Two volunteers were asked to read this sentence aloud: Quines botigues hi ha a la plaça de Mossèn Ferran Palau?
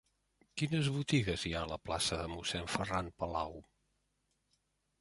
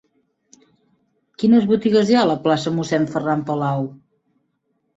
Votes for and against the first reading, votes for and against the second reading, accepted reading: 3, 0, 1, 2, first